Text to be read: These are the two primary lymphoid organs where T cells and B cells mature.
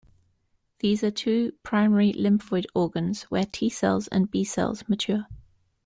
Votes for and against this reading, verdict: 1, 2, rejected